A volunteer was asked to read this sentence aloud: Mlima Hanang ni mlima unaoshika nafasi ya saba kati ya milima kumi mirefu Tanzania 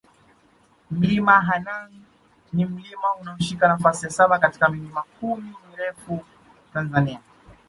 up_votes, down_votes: 1, 2